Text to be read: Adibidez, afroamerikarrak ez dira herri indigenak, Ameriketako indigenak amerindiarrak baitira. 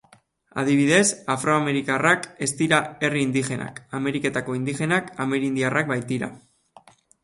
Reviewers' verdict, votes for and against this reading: accepted, 2, 0